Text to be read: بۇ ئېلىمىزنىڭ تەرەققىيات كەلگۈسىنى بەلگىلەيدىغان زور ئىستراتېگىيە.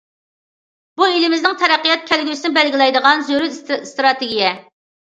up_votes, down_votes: 0, 2